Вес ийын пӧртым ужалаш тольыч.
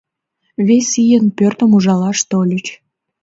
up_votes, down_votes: 2, 0